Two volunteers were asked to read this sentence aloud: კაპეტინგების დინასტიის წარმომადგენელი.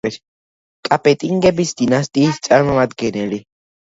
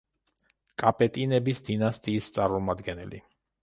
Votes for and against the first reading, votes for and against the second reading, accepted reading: 2, 1, 0, 2, first